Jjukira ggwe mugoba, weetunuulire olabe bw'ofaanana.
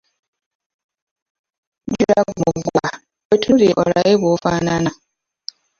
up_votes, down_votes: 0, 2